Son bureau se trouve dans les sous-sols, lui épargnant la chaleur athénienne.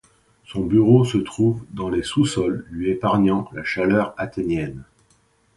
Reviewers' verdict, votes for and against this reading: accepted, 2, 0